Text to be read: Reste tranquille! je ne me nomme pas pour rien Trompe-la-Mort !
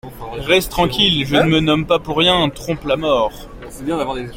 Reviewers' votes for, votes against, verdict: 0, 2, rejected